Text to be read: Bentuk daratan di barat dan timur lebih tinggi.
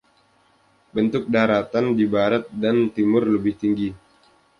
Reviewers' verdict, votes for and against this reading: accepted, 2, 0